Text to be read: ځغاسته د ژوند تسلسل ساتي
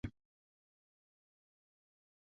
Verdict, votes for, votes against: rejected, 0, 2